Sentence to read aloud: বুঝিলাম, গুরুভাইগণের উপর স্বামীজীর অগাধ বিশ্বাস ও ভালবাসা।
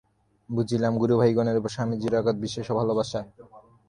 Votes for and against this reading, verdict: 3, 0, accepted